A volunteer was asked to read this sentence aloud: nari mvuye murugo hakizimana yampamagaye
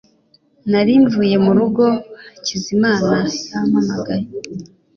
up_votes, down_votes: 2, 1